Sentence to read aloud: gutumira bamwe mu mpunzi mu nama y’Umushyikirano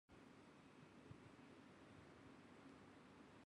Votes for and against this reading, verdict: 1, 2, rejected